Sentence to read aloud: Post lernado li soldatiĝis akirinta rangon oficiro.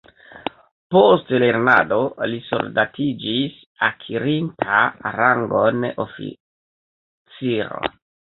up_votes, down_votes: 1, 2